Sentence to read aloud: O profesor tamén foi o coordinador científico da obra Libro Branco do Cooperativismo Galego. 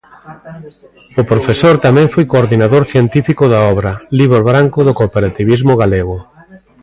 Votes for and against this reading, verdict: 1, 2, rejected